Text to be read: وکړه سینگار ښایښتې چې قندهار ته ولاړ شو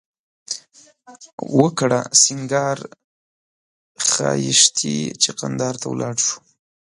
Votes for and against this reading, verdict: 1, 2, rejected